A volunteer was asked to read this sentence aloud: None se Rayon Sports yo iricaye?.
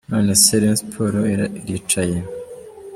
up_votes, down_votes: 2, 3